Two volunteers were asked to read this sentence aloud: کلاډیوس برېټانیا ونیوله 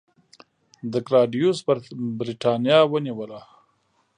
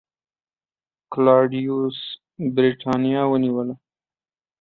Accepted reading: second